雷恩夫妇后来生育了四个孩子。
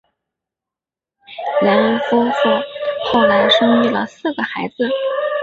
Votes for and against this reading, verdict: 0, 2, rejected